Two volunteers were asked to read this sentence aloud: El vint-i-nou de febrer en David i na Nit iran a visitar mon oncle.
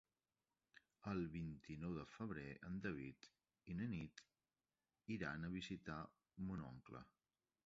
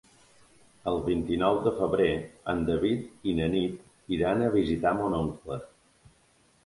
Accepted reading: second